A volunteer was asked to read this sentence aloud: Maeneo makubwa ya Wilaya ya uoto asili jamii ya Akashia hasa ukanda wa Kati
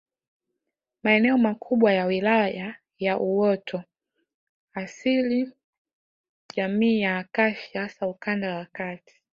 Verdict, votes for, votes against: accepted, 5, 0